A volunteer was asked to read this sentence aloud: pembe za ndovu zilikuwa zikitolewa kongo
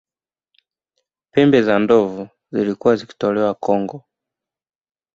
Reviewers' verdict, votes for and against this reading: accepted, 2, 0